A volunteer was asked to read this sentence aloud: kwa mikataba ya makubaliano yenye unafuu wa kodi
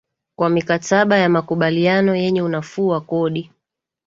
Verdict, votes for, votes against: accepted, 2, 1